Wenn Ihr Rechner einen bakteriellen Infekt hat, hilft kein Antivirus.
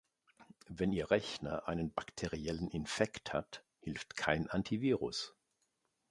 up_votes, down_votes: 2, 0